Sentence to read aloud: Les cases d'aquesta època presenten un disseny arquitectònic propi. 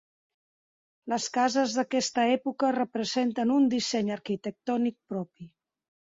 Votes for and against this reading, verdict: 0, 2, rejected